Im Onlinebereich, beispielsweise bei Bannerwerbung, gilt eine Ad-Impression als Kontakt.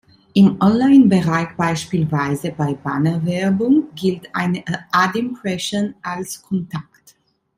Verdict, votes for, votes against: rejected, 0, 2